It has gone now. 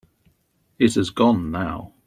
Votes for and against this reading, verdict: 2, 0, accepted